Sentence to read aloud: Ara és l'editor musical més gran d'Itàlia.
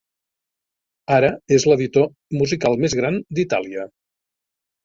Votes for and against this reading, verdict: 3, 0, accepted